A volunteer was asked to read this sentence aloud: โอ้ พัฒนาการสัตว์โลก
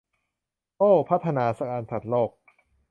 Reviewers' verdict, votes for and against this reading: rejected, 0, 2